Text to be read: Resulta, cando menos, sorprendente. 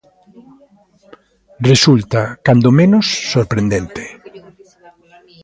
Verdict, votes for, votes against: accepted, 2, 1